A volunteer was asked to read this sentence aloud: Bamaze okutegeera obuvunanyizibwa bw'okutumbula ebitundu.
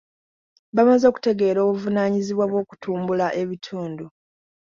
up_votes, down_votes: 2, 0